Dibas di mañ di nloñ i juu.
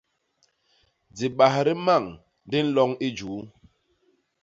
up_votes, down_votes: 1, 2